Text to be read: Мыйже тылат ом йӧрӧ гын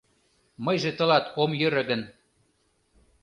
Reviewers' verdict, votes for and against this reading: accepted, 2, 0